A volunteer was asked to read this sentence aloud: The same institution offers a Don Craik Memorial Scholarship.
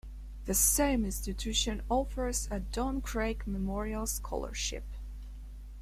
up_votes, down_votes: 1, 2